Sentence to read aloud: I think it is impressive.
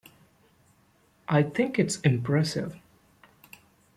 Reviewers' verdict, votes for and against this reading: accepted, 2, 0